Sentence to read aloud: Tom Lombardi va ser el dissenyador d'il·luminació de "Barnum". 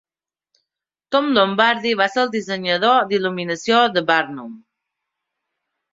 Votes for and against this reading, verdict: 2, 0, accepted